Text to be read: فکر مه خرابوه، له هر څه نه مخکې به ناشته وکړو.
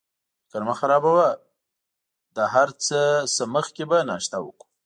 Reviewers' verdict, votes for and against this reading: accepted, 2, 0